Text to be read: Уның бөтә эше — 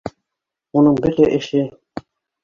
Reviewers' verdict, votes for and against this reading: accepted, 2, 1